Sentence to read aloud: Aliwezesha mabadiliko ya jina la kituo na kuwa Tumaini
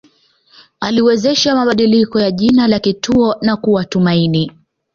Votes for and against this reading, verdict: 2, 0, accepted